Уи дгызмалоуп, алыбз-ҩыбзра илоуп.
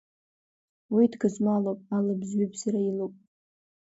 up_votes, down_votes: 2, 0